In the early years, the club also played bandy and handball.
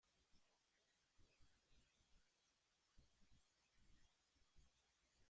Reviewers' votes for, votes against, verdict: 0, 2, rejected